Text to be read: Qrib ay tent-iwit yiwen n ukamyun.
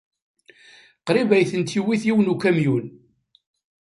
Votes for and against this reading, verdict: 2, 1, accepted